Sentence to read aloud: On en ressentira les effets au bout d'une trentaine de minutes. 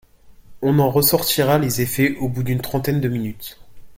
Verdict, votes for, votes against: rejected, 1, 2